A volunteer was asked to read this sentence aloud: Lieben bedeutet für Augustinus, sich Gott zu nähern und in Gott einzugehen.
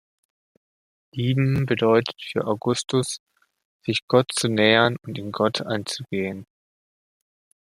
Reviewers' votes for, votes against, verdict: 0, 2, rejected